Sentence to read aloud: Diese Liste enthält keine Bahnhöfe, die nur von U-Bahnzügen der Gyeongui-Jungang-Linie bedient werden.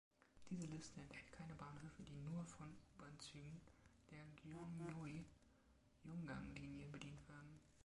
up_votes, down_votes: 0, 2